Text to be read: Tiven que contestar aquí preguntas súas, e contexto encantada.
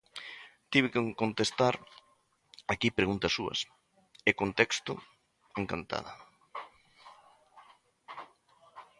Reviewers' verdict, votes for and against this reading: rejected, 0, 2